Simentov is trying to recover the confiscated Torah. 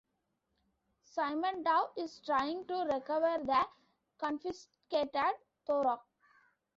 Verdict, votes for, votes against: accepted, 2, 1